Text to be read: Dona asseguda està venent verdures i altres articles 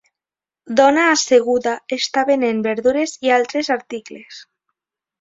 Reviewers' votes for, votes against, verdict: 4, 0, accepted